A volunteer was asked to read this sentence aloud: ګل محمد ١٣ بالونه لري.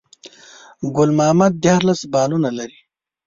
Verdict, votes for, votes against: rejected, 0, 2